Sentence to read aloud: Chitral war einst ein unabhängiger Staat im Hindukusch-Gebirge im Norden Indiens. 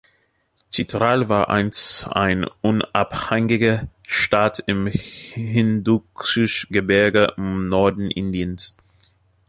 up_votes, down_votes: 0, 2